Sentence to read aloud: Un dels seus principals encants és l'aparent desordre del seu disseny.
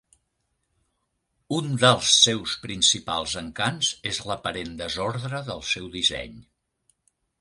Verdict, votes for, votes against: accepted, 3, 0